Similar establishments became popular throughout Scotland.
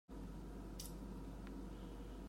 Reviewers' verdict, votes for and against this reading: rejected, 0, 2